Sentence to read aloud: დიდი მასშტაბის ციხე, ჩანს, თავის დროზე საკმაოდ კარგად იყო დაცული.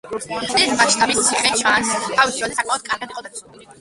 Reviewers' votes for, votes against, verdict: 1, 2, rejected